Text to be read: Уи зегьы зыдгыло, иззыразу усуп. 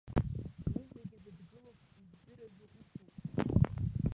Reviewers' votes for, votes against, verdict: 1, 2, rejected